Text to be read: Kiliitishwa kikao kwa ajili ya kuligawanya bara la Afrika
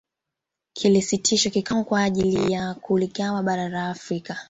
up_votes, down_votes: 2, 0